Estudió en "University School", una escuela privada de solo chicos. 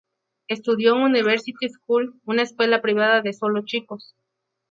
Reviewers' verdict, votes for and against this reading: accepted, 2, 0